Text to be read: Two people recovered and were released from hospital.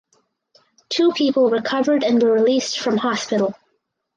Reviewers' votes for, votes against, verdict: 4, 0, accepted